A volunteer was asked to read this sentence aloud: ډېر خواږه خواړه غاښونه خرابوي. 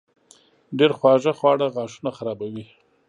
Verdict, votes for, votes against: accepted, 5, 0